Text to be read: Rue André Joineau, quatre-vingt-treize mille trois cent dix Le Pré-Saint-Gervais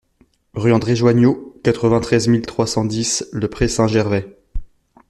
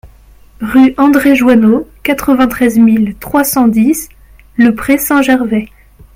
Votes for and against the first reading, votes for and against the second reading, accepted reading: 0, 2, 2, 0, second